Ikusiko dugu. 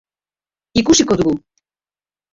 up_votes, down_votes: 1, 2